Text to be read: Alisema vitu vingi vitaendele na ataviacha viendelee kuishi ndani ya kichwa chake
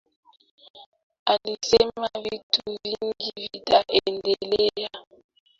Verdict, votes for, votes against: rejected, 0, 3